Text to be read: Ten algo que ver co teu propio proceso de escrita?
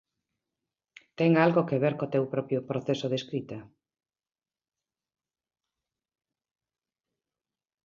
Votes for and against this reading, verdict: 2, 0, accepted